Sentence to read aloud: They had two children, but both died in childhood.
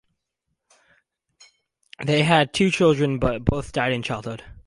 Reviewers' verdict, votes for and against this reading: accepted, 4, 0